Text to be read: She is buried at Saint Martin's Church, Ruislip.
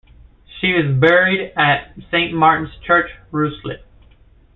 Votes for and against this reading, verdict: 2, 0, accepted